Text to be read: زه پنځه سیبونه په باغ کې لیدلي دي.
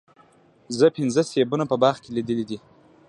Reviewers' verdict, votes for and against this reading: rejected, 1, 2